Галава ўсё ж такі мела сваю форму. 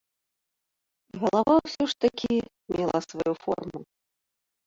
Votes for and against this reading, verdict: 2, 0, accepted